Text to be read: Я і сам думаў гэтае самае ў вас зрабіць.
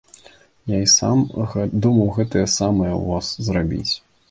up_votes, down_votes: 0, 2